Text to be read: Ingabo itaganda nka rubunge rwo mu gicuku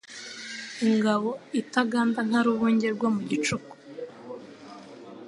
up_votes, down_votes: 2, 0